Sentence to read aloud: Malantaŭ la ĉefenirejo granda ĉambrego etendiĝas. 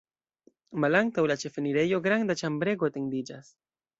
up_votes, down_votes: 2, 1